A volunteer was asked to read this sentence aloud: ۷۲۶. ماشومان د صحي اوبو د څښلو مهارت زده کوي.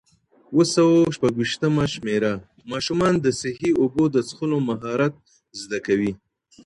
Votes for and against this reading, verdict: 0, 2, rejected